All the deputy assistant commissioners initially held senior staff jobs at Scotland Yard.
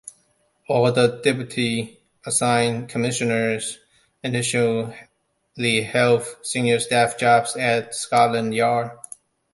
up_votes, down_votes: 1, 2